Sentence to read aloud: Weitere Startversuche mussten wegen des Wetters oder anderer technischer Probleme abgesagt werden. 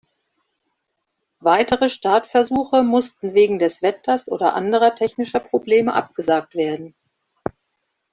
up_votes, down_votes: 2, 0